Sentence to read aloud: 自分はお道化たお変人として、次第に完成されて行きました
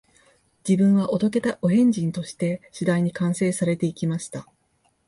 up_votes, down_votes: 2, 0